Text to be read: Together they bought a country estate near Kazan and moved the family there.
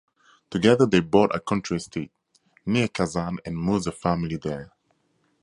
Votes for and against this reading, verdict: 2, 0, accepted